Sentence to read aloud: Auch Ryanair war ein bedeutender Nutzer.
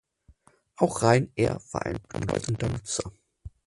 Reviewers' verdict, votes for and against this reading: rejected, 0, 4